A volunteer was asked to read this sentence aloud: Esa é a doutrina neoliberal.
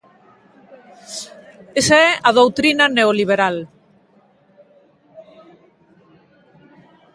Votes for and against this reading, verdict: 2, 0, accepted